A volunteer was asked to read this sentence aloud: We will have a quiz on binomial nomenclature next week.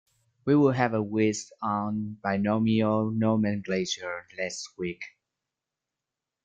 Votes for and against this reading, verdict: 0, 2, rejected